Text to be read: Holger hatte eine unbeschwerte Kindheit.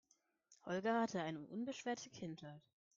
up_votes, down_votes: 2, 0